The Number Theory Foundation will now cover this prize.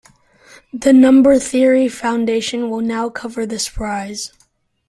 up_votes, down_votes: 2, 0